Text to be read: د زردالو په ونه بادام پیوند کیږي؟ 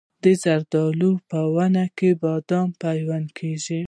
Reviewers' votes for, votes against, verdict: 1, 2, rejected